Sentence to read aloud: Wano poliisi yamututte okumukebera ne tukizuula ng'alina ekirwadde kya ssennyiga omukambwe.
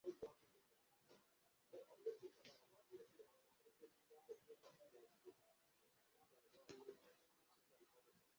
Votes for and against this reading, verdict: 0, 2, rejected